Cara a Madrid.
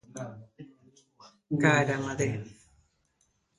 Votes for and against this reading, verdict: 1, 2, rejected